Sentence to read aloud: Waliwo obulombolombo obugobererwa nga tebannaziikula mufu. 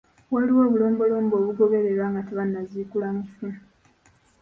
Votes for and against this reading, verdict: 0, 2, rejected